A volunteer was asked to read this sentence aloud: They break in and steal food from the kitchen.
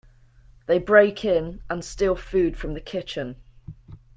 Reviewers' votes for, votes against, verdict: 2, 0, accepted